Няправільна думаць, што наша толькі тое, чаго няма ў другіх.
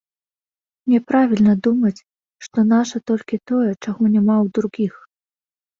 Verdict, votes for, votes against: accepted, 2, 0